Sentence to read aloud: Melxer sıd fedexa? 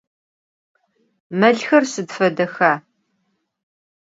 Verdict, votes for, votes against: accepted, 4, 0